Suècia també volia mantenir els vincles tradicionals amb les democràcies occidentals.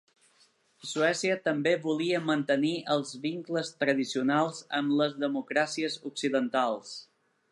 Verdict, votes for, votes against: accepted, 2, 0